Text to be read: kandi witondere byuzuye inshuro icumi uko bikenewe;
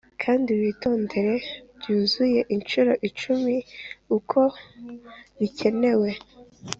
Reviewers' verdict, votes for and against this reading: accepted, 3, 0